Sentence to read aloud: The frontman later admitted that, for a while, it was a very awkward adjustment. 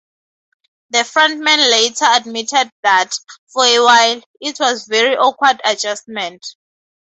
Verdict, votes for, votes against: accepted, 2, 0